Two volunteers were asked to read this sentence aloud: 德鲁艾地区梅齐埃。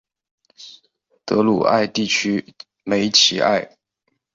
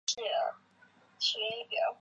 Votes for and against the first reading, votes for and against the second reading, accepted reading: 6, 1, 0, 3, first